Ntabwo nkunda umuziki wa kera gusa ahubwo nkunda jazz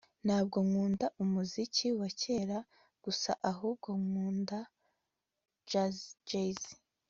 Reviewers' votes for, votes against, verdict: 3, 0, accepted